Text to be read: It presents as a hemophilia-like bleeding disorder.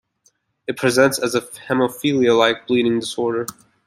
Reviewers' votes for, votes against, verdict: 2, 0, accepted